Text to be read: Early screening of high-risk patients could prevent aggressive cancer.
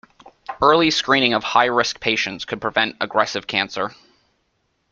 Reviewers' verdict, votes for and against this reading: accepted, 2, 0